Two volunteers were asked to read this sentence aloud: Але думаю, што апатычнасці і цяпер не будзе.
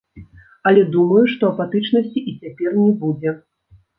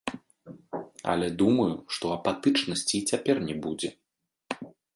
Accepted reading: second